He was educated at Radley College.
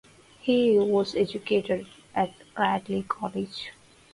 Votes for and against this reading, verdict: 4, 0, accepted